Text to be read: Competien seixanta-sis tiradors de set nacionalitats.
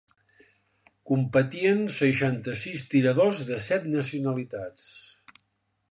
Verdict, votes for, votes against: accepted, 5, 0